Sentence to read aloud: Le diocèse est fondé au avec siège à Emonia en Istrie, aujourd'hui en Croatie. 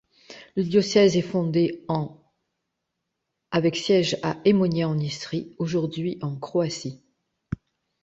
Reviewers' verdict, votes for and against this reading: rejected, 1, 2